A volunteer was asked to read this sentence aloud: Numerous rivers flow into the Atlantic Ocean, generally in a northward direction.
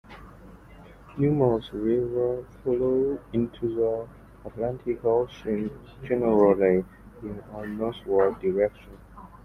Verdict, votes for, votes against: accepted, 2, 0